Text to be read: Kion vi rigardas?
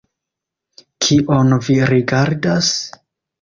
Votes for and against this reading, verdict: 2, 0, accepted